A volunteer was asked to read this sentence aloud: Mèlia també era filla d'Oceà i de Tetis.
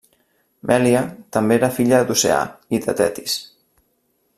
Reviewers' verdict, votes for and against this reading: accepted, 3, 0